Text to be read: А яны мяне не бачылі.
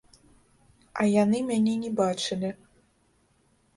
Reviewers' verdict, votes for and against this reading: accepted, 2, 1